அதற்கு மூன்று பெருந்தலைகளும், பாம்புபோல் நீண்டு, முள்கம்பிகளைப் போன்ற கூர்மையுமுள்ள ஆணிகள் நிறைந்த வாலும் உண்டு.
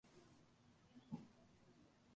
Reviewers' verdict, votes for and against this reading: rejected, 0, 2